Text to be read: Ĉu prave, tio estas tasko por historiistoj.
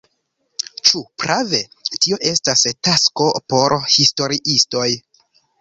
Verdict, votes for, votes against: accepted, 2, 0